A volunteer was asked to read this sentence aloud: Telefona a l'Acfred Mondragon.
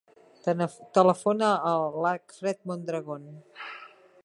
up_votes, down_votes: 1, 2